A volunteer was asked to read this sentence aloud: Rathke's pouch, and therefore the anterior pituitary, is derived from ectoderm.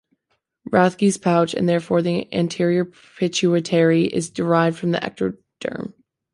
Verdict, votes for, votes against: accepted, 3, 2